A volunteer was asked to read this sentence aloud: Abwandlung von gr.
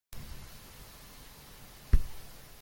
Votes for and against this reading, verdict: 0, 2, rejected